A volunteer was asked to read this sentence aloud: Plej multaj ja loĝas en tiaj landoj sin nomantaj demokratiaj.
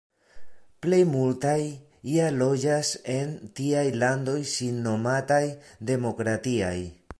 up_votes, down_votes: 1, 2